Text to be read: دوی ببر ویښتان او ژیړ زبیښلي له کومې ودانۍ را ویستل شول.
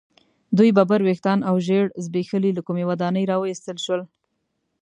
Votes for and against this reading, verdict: 2, 0, accepted